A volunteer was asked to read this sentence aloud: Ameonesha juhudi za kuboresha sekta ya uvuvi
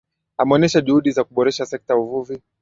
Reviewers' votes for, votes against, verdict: 9, 2, accepted